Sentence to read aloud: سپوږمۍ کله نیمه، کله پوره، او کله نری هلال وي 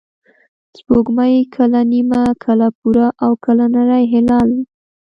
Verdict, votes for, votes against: rejected, 1, 2